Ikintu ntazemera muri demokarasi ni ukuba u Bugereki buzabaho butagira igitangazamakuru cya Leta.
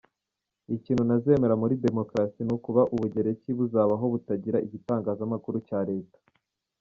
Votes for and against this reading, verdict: 1, 2, rejected